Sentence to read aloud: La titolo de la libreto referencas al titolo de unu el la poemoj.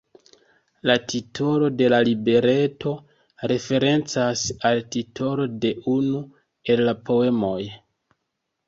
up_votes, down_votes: 2, 0